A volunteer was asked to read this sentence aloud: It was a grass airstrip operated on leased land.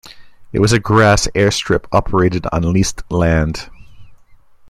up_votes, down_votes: 2, 1